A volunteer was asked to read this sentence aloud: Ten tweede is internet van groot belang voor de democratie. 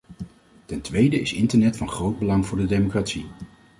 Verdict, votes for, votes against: accepted, 2, 0